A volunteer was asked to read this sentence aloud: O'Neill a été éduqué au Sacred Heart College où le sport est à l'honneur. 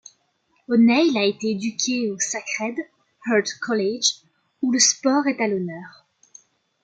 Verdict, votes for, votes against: accepted, 2, 0